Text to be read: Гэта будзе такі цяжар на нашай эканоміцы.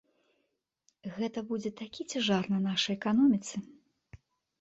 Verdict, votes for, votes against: accepted, 2, 0